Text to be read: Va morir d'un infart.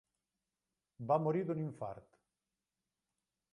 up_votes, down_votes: 2, 0